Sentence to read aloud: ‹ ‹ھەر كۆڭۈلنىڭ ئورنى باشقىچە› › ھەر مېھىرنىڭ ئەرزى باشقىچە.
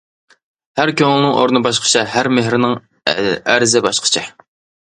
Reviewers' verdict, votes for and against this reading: rejected, 0, 2